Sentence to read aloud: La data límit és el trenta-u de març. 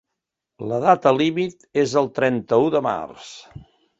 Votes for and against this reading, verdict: 2, 0, accepted